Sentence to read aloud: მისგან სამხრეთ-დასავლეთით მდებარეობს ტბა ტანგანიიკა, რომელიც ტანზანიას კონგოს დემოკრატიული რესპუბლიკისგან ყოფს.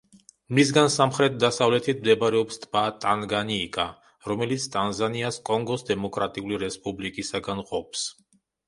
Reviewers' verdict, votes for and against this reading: rejected, 1, 2